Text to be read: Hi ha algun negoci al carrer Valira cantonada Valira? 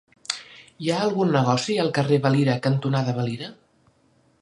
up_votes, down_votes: 2, 0